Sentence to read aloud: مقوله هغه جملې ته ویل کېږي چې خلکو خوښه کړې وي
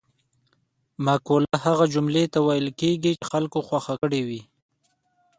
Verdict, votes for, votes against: accepted, 2, 0